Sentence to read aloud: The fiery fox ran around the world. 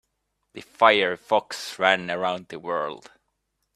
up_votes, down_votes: 2, 1